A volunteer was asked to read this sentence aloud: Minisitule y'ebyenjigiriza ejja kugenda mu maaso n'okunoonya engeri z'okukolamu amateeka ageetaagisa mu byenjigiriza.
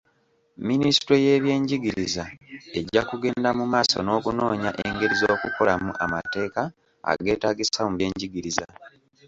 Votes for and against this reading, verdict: 2, 0, accepted